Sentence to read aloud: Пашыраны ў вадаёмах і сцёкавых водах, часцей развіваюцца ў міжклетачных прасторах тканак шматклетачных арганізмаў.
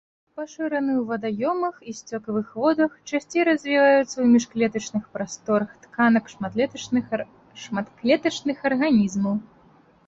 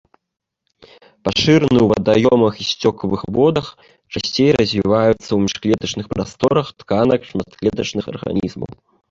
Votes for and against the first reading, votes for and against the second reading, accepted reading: 0, 2, 2, 0, second